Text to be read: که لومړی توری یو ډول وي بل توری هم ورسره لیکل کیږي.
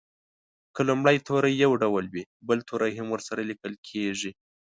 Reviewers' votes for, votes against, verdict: 2, 0, accepted